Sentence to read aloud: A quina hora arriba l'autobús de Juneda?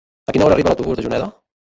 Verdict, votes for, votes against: rejected, 0, 2